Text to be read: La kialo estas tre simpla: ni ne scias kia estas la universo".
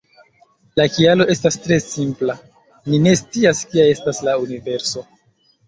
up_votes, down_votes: 2, 0